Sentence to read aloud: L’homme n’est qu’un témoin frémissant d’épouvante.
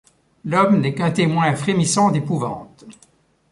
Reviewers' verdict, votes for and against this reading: accepted, 2, 0